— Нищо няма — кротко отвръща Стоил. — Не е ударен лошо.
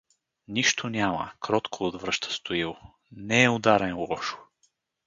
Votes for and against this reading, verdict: 2, 2, rejected